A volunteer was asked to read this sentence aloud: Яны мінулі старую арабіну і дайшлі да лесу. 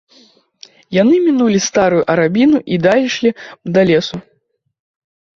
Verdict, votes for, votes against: rejected, 1, 2